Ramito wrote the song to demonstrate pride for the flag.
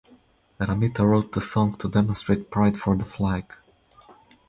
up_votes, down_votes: 2, 2